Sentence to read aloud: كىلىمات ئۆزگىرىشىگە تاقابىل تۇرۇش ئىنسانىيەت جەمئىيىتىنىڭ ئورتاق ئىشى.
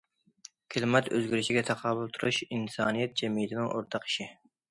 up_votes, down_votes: 2, 0